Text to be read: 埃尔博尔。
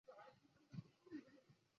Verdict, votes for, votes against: rejected, 0, 3